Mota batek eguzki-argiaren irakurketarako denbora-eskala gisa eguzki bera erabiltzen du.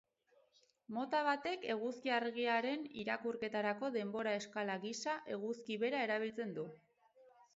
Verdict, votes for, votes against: accepted, 2, 0